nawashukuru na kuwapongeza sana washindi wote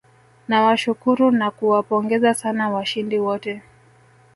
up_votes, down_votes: 0, 2